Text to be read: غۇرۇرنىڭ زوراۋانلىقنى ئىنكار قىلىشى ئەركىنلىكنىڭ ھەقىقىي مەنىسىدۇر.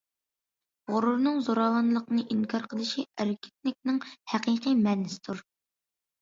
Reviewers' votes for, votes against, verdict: 2, 0, accepted